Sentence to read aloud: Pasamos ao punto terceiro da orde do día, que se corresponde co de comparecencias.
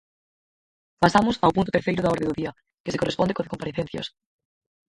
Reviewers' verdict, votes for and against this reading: rejected, 2, 4